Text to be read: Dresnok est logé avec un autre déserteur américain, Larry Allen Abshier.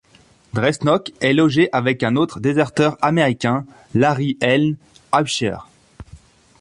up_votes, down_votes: 0, 2